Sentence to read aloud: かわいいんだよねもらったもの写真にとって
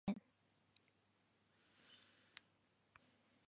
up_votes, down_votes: 0, 2